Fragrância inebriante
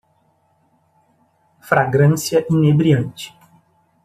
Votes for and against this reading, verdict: 2, 0, accepted